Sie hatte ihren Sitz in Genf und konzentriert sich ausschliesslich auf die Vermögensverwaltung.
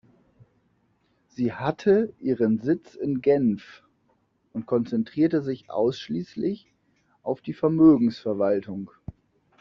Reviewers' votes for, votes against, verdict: 0, 2, rejected